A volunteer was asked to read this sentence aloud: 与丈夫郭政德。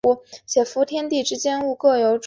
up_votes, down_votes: 0, 2